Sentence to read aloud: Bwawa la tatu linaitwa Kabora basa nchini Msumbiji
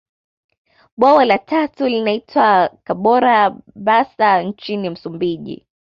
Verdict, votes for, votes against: accepted, 2, 0